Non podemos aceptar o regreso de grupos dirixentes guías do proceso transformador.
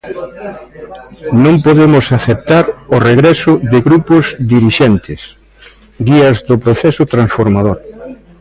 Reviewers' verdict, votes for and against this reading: accepted, 2, 0